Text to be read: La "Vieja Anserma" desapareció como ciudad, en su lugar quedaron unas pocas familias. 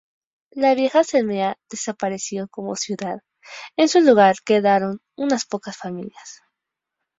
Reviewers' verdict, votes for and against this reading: rejected, 0, 4